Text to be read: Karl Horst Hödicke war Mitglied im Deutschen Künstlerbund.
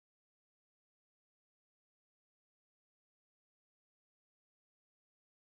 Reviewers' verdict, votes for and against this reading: rejected, 0, 2